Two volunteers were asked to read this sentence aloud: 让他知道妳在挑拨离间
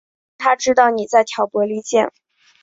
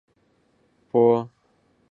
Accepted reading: first